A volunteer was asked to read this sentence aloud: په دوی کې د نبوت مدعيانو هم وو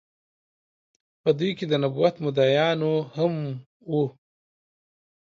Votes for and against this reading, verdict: 2, 0, accepted